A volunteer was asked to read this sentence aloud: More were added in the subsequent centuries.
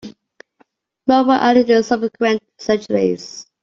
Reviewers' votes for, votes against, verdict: 1, 2, rejected